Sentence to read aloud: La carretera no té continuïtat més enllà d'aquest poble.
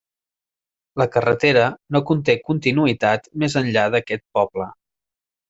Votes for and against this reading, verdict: 0, 2, rejected